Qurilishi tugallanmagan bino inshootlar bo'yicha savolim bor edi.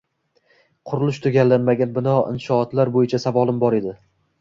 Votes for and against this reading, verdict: 2, 0, accepted